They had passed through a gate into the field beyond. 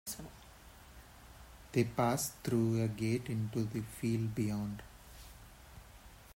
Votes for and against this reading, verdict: 2, 1, accepted